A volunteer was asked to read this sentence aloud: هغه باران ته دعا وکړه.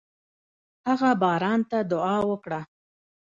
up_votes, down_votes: 1, 2